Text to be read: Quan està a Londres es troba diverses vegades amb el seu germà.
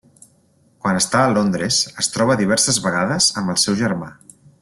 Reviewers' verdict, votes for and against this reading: rejected, 1, 2